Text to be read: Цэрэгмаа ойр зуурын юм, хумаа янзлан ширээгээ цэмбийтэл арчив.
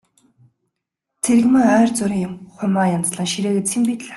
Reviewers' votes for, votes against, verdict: 0, 2, rejected